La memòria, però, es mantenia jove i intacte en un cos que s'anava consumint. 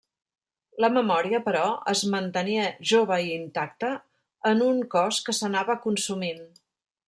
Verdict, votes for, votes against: rejected, 1, 2